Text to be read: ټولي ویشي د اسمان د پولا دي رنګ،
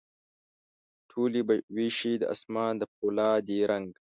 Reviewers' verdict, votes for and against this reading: rejected, 0, 2